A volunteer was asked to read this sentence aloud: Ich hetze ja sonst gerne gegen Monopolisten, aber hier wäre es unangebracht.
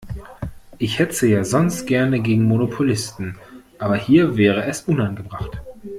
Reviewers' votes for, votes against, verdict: 2, 0, accepted